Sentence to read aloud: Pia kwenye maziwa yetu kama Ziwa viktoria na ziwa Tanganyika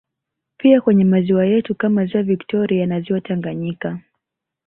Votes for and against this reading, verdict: 0, 2, rejected